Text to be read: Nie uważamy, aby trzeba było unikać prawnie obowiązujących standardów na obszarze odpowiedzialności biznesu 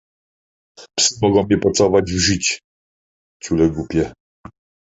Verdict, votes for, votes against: rejected, 0, 2